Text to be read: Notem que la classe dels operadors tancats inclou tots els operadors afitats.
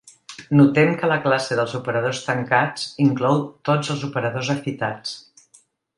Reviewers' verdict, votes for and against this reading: accepted, 2, 0